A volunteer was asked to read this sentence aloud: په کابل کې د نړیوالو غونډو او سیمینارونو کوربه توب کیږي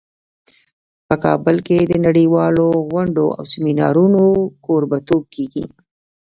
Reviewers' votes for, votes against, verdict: 1, 2, rejected